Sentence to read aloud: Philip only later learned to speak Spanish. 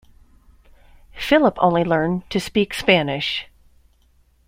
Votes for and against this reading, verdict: 1, 2, rejected